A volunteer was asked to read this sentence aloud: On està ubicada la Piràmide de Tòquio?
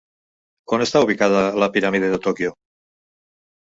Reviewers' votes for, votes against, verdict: 3, 0, accepted